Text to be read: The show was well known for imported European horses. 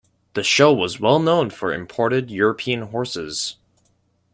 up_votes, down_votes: 2, 0